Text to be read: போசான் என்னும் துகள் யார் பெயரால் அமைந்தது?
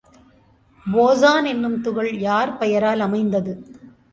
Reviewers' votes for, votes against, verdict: 2, 1, accepted